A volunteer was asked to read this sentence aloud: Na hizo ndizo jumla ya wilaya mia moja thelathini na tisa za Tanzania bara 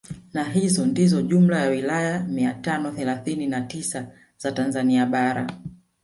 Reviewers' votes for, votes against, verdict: 0, 2, rejected